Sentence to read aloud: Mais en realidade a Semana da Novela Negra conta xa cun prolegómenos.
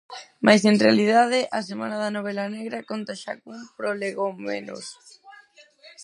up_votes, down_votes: 0, 4